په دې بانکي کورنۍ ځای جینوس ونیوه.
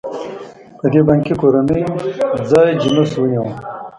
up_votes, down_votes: 0, 2